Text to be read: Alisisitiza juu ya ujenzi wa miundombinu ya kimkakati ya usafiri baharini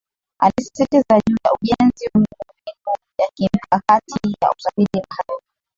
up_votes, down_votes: 1, 2